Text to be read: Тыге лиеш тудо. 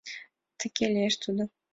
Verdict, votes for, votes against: accepted, 2, 0